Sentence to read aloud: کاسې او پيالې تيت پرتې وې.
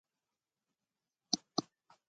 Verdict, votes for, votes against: rejected, 1, 2